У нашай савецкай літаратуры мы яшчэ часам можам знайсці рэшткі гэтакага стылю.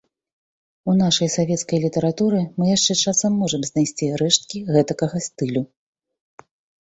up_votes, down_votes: 3, 0